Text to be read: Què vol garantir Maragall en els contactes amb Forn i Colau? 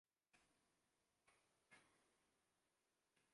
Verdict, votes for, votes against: rejected, 0, 2